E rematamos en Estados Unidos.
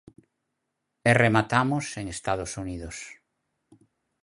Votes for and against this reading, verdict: 4, 0, accepted